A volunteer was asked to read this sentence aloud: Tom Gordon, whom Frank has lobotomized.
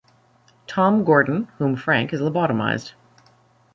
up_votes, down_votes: 2, 0